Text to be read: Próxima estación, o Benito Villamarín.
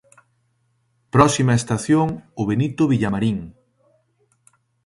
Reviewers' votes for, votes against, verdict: 2, 0, accepted